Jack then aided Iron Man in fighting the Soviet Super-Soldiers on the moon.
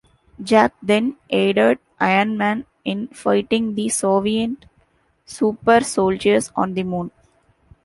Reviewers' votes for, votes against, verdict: 1, 2, rejected